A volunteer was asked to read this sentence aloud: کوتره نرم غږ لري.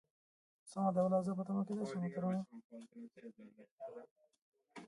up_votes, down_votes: 0, 2